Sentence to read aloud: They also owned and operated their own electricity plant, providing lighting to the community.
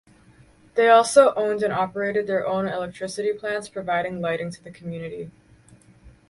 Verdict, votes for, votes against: rejected, 2, 2